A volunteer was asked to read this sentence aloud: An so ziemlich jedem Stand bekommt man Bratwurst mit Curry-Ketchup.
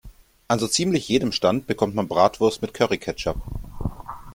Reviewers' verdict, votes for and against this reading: accepted, 2, 0